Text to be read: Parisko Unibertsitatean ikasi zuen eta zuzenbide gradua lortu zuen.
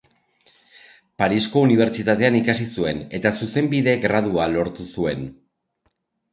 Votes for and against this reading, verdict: 3, 0, accepted